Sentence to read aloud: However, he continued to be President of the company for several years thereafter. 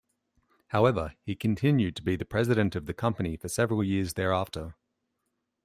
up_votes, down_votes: 1, 2